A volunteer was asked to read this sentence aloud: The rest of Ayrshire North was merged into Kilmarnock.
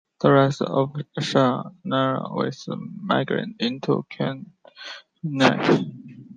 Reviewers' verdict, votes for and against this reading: rejected, 0, 2